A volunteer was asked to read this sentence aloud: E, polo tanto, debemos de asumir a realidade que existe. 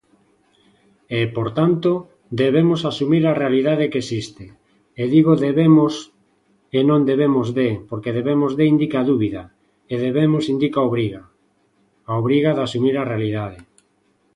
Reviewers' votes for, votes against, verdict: 0, 2, rejected